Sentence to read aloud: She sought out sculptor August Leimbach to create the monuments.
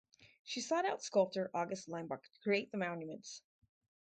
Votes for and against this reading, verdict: 0, 2, rejected